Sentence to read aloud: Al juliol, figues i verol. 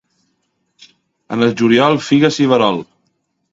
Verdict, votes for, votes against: rejected, 0, 2